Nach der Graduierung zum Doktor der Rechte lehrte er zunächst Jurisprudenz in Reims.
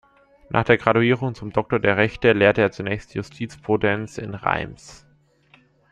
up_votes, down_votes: 1, 2